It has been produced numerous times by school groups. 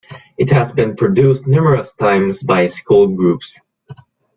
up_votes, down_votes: 2, 0